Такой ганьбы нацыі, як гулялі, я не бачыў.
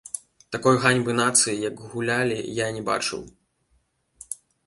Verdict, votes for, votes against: accepted, 2, 0